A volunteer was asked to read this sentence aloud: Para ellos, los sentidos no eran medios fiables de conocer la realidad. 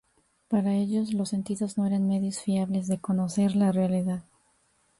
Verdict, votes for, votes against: accepted, 2, 0